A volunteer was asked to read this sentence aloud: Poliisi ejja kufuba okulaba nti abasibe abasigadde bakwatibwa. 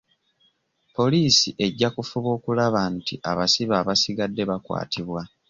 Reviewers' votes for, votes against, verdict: 2, 0, accepted